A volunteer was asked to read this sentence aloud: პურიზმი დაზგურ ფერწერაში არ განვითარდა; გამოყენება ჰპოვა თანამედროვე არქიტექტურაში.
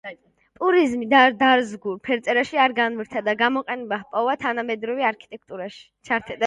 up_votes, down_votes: 0, 2